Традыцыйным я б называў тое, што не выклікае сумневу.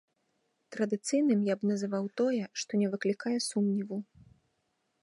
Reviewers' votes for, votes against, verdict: 2, 0, accepted